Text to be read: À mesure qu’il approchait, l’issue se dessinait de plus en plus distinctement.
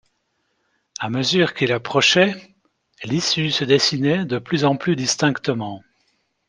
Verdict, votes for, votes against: accepted, 2, 0